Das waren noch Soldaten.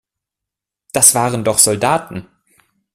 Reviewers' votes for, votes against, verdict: 1, 2, rejected